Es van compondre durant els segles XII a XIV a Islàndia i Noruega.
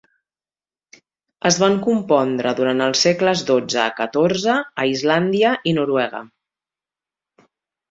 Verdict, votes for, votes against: accepted, 2, 0